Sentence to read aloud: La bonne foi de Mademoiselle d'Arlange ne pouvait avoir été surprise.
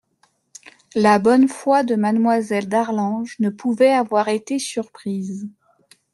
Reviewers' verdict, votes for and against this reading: accepted, 2, 1